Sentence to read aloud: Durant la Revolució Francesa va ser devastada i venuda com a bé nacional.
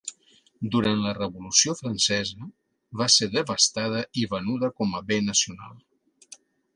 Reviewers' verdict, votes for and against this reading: accepted, 2, 0